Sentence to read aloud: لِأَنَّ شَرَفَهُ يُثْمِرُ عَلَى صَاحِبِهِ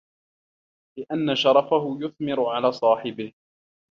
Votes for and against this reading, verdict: 2, 0, accepted